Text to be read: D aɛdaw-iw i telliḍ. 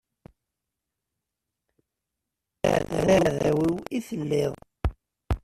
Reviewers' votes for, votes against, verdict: 0, 2, rejected